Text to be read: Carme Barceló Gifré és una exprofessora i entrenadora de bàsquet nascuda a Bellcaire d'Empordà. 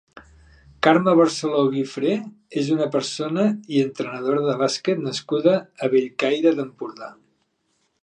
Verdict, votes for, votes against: rejected, 0, 3